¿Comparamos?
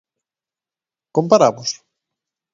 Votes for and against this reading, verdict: 2, 0, accepted